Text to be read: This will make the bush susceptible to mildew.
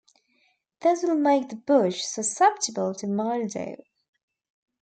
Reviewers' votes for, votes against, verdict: 0, 2, rejected